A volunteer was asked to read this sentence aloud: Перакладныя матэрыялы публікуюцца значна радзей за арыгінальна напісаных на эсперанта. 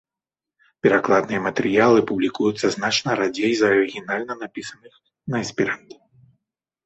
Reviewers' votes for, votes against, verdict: 0, 3, rejected